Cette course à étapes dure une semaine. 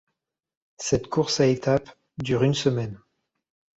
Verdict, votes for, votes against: accepted, 2, 0